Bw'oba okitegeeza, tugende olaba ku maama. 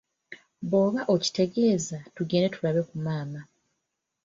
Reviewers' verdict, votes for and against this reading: rejected, 0, 2